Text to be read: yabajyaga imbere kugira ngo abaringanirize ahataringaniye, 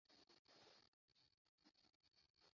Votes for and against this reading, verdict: 0, 2, rejected